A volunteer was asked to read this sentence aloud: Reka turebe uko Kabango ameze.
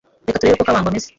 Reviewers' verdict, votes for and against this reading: rejected, 1, 2